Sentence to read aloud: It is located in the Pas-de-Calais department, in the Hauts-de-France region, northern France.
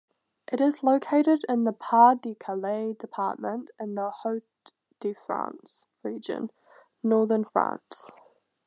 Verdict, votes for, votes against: accepted, 2, 0